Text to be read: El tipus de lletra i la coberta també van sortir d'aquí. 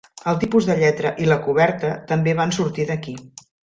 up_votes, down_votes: 3, 0